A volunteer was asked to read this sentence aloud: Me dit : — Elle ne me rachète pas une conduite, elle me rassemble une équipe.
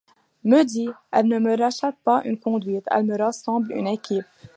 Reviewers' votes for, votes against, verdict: 2, 0, accepted